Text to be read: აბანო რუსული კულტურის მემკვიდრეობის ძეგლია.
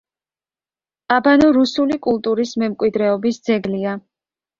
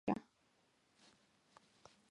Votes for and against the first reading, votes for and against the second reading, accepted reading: 2, 0, 1, 2, first